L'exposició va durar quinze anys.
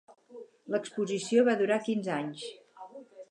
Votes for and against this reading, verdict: 6, 2, accepted